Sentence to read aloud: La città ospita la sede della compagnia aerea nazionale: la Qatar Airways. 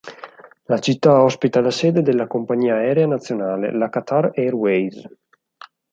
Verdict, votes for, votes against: accepted, 4, 0